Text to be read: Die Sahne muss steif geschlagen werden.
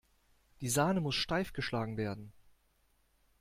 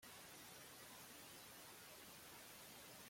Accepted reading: first